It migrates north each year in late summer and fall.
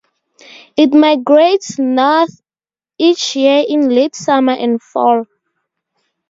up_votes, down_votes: 2, 0